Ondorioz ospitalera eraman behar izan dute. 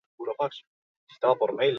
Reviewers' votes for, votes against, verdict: 0, 4, rejected